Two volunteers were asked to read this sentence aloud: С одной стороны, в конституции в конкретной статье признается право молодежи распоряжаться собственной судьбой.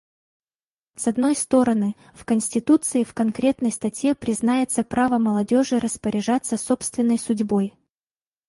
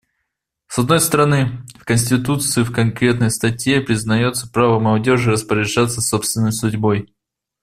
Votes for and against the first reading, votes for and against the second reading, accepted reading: 0, 4, 2, 0, second